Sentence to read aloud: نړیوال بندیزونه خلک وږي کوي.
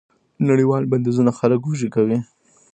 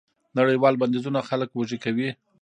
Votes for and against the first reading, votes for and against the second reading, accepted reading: 1, 2, 2, 0, second